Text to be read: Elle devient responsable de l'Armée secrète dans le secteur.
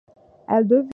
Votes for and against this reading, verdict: 0, 2, rejected